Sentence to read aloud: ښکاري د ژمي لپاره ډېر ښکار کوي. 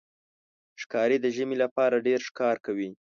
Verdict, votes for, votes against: rejected, 0, 2